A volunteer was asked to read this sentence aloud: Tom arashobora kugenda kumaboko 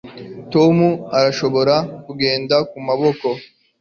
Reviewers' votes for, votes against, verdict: 2, 0, accepted